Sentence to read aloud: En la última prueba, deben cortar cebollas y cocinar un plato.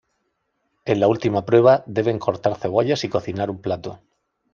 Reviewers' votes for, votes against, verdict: 2, 0, accepted